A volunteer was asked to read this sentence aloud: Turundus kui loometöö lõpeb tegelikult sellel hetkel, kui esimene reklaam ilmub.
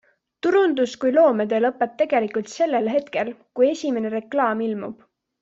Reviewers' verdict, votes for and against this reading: accepted, 2, 0